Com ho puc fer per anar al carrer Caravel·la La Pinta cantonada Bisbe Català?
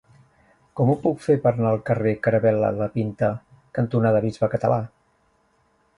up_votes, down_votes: 1, 2